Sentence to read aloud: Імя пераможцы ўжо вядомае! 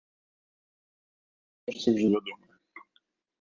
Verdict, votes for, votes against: rejected, 0, 2